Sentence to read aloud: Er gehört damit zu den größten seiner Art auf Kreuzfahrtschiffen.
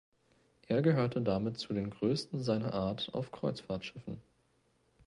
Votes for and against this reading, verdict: 0, 2, rejected